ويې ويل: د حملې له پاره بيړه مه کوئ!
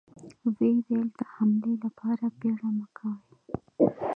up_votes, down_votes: 2, 0